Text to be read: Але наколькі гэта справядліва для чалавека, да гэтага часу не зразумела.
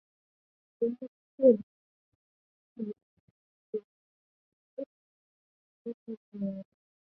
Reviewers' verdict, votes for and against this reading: rejected, 0, 2